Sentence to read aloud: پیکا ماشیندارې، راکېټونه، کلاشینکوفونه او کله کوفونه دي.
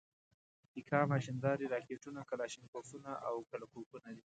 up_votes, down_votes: 2, 0